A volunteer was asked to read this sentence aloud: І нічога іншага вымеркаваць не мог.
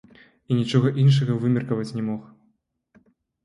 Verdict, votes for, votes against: rejected, 0, 2